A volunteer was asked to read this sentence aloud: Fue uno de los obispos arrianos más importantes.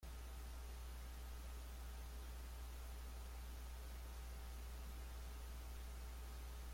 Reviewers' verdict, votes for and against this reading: rejected, 0, 2